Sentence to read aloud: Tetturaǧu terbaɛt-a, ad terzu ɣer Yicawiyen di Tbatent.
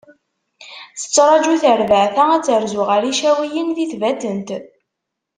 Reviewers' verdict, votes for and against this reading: accepted, 2, 0